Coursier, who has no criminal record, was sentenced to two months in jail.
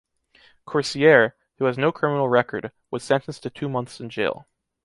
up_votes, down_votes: 2, 0